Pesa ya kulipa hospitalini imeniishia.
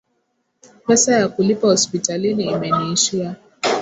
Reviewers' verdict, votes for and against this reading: rejected, 1, 2